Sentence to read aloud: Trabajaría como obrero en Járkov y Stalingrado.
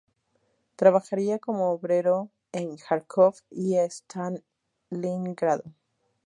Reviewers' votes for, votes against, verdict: 2, 0, accepted